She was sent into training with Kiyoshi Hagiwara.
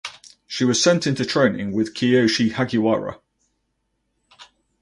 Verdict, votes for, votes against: rejected, 2, 2